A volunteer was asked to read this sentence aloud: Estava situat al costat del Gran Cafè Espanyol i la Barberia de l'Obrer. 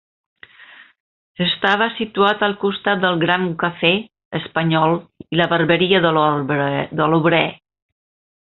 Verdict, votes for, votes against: rejected, 0, 2